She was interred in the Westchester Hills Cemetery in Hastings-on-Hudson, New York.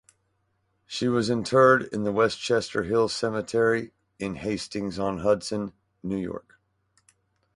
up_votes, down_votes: 2, 2